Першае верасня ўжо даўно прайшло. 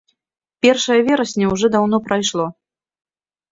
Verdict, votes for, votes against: accepted, 2, 0